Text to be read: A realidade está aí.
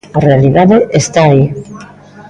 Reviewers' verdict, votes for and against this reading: rejected, 1, 2